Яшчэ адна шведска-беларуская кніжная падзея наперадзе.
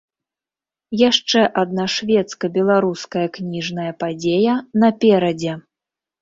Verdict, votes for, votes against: accepted, 2, 0